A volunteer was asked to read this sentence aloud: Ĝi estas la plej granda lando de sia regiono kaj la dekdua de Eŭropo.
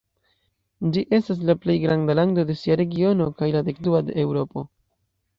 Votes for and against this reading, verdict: 2, 0, accepted